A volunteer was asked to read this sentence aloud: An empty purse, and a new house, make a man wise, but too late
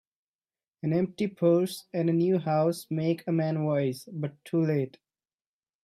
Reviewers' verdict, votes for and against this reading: accepted, 2, 0